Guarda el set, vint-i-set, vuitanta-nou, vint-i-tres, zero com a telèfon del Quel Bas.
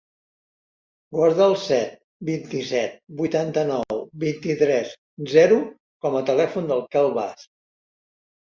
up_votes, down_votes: 3, 0